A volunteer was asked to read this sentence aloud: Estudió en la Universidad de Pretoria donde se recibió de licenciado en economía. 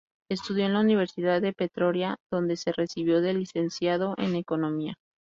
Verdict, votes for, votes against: accepted, 2, 0